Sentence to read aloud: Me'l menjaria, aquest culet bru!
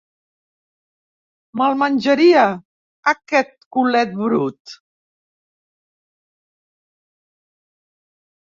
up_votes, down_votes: 1, 2